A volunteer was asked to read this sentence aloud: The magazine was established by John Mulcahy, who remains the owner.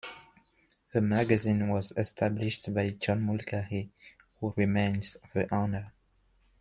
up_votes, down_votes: 2, 0